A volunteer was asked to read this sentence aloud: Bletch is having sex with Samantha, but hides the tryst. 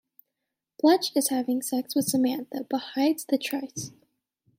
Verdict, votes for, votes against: accepted, 2, 1